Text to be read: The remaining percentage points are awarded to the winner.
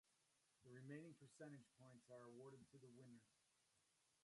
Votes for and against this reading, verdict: 0, 2, rejected